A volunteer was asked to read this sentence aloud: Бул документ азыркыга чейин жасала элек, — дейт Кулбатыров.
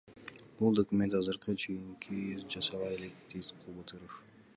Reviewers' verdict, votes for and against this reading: rejected, 1, 2